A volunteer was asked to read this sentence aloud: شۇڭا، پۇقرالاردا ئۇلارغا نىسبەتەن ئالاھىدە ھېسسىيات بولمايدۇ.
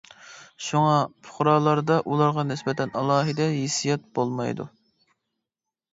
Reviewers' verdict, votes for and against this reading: accepted, 2, 0